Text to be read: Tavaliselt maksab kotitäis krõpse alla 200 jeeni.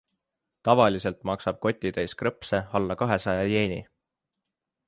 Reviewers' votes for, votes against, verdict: 0, 2, rejected